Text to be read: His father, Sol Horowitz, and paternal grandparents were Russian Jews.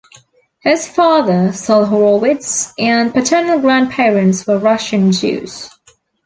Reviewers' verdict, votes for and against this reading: accepted, 2, 0